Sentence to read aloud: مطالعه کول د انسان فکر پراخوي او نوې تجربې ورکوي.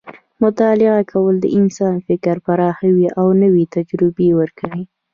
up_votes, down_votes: 1, 2